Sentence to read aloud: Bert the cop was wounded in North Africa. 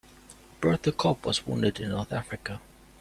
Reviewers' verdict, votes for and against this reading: accepted, 2, 0